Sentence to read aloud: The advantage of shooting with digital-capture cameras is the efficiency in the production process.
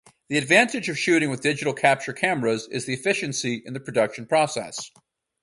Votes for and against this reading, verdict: 4, 0, accepted